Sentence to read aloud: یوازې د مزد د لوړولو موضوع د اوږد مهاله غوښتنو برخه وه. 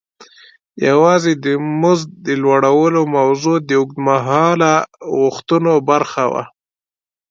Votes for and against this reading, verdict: 2, 0, accepted